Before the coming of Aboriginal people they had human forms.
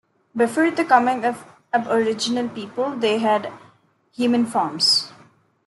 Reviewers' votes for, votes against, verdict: 2, 0, accepted